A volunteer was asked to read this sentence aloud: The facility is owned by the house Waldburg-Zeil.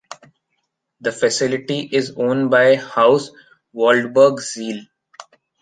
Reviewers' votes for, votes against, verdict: 1, 2, rejected